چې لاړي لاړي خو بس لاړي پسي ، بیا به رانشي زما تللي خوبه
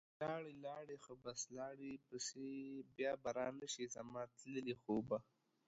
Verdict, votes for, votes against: rejected, 0, 2